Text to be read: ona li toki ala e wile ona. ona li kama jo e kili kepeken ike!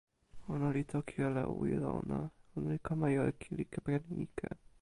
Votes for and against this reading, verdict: 0, 2, rejected